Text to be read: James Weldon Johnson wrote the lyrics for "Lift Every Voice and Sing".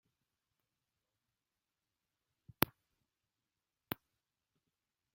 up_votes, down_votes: 0, 2